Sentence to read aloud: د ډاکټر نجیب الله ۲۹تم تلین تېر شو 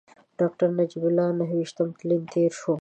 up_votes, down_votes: 0, 2